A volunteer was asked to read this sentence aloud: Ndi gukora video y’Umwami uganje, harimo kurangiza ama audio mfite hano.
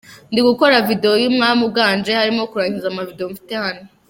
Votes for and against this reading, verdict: 0, 2, rejected